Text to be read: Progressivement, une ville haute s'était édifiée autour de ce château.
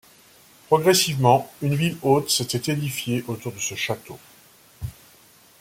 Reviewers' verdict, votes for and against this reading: accepted, 2, 0